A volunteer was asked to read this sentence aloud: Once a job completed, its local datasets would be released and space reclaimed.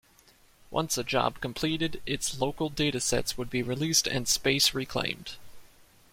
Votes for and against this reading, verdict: 2, 0, accepted